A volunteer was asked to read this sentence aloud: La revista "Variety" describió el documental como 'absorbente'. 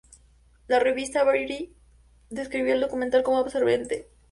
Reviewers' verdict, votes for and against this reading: accepted, 2, 0